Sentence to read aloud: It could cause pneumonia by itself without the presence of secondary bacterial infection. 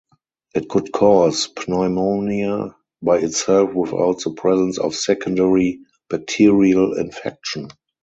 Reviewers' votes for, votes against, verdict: 4, 2, accepted